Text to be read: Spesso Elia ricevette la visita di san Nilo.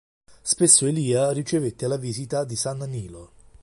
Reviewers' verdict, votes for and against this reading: rejected, 1, 2